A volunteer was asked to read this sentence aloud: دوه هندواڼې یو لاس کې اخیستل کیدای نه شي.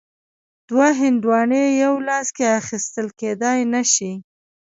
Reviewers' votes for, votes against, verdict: 2, 0, accepted